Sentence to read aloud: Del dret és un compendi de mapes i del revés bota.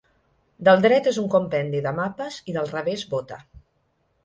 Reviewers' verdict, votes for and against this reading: accepted, 3, 0